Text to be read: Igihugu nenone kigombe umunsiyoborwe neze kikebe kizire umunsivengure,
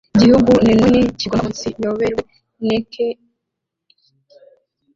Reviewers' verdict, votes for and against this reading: rejected, 1, 2